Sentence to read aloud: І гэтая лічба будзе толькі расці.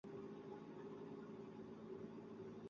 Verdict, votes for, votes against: rejected, 0, 2